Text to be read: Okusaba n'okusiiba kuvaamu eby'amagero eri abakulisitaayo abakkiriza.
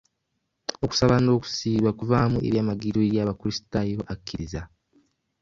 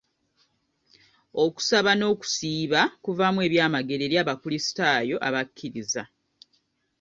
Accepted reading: second